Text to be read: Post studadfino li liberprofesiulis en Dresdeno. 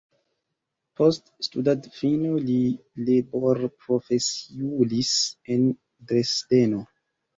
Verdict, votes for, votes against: accepted, 2, 0